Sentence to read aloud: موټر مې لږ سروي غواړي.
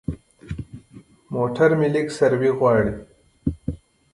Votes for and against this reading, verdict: 2, 0, accepted